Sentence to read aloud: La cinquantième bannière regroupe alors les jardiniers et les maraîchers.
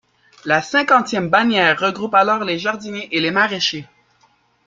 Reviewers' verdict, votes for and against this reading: accepted, 2, 1